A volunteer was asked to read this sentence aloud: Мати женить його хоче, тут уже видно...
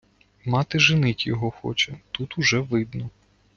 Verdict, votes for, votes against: accepted, 2, 0